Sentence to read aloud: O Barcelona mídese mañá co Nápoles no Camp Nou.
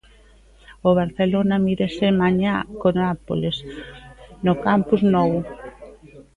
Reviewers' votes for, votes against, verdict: 0, 2, rejected